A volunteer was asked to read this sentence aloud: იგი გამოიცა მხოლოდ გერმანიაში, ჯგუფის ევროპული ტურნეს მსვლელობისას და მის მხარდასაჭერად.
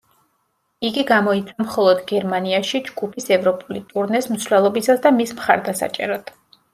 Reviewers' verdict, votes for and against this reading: accepted, 2, 0